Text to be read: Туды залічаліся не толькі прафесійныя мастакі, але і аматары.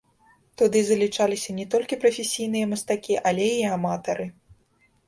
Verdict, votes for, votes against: rejected, 1, 2